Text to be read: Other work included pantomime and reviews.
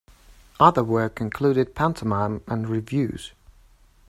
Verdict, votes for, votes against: accepted, 2, 0